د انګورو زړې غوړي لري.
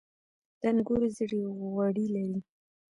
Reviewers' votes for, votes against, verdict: 0, 2, rejected